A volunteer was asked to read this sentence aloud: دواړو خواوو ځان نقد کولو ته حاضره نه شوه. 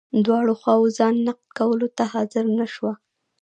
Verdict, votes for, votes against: rejected, 0, 2